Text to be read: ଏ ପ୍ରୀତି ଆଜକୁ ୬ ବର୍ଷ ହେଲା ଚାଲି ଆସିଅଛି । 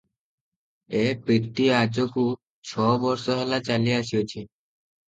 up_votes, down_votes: 0, 2